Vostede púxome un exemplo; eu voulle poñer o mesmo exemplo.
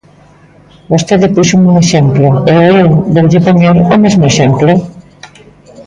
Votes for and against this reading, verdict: 0, 2, rejected